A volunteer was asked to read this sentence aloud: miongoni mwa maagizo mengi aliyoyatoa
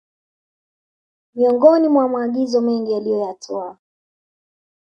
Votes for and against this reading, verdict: 2, 1, accepted